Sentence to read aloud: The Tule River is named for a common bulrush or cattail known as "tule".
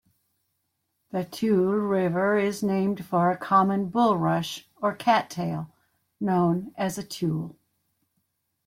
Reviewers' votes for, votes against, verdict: 0, 2, rejected